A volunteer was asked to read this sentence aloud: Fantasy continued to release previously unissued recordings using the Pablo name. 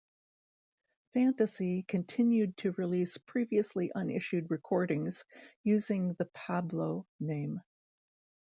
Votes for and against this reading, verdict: 2, 0, accepted